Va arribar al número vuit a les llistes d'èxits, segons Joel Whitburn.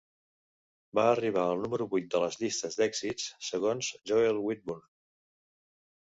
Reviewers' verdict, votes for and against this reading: rejected, 0, 2